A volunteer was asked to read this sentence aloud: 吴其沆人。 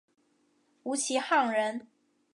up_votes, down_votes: 1, 3